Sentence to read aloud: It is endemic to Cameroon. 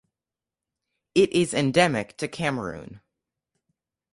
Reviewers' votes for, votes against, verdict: 2, 0, accepted